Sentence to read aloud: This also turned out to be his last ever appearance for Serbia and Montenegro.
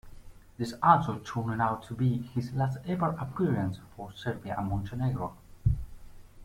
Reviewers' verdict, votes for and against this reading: accepted, 2, 1